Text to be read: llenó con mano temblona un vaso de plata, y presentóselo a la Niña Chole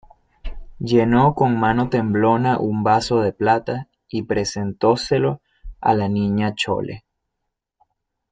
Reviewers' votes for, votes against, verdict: 2, 0, accepted